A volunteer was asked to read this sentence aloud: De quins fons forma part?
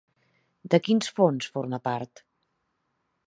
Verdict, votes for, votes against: accepted, 2, 0